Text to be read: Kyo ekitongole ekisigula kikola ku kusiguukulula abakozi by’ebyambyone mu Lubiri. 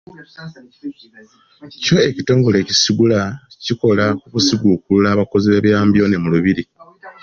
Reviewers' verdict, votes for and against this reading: accepted, 2, 0